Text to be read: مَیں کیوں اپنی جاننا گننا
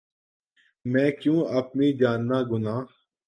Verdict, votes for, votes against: rejected, 0, 2